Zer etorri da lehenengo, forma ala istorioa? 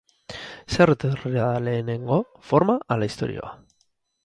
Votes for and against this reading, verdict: 0, 4, rejected